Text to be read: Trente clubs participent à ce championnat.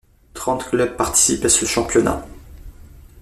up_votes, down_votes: 2, 0